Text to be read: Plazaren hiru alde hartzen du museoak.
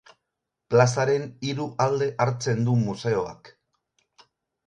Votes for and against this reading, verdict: 4, 0, accepted